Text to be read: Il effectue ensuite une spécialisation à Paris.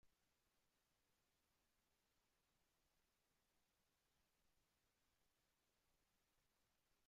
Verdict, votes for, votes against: rejected, 0, 2